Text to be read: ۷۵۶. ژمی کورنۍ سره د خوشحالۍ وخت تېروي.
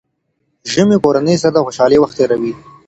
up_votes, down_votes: 0, 2